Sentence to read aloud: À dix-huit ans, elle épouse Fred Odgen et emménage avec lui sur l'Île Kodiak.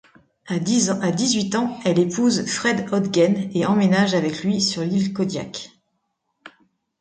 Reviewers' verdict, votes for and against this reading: rejected, 0, 2